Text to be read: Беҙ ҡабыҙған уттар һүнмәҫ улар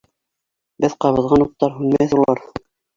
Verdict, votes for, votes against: accepted, 2, 1